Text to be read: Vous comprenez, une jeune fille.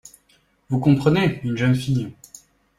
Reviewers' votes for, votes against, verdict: 2, 0, accepted